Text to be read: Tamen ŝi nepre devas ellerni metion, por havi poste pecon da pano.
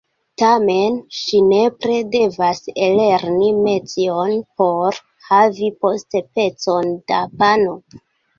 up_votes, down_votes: 2, 0